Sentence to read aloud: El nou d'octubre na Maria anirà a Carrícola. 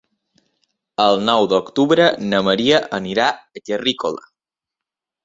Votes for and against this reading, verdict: 0, 2, rejected